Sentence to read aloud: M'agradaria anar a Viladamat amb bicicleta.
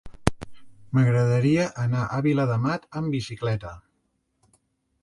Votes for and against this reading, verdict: 5, 0, accepted